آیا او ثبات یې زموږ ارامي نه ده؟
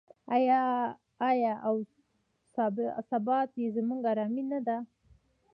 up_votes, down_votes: 1, 2